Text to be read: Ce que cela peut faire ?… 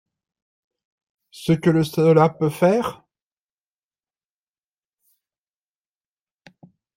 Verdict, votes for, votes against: rejected, 0, 2